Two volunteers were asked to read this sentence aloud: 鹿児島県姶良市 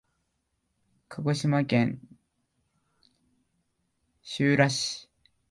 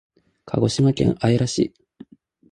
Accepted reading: second